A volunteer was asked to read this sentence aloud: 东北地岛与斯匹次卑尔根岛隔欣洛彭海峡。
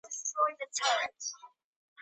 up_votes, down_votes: 1, 2